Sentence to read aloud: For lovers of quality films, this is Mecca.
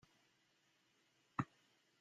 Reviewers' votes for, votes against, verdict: 0, 2, rejected